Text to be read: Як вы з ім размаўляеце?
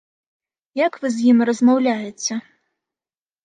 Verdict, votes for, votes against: accepted, 2, 0